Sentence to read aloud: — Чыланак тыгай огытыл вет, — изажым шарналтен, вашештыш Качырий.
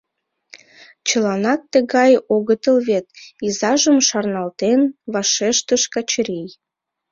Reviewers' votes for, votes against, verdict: 2, 1, accepted